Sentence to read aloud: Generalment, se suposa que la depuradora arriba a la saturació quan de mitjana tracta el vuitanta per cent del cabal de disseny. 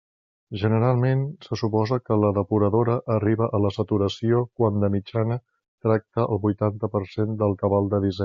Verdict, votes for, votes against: rejected, 0, 3